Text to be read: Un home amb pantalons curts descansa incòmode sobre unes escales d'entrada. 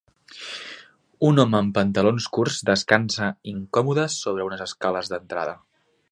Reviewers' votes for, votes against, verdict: 2, 0, accepted